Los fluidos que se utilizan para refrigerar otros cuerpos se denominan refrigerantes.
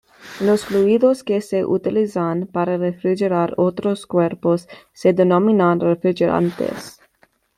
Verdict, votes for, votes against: rejected, 1, 2